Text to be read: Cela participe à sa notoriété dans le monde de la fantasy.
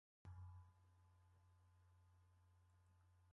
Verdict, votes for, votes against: rejected, 0, 2